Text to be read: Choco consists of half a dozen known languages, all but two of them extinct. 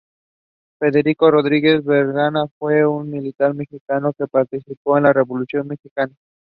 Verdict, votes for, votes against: rejected, 0, 2